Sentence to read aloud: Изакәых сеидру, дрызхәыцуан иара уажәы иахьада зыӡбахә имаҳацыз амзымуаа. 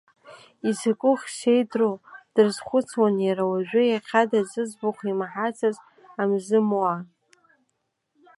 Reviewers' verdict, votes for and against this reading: accepted, 2, 1